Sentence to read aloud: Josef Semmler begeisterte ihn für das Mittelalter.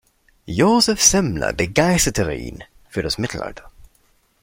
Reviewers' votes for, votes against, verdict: 1, 2, rejected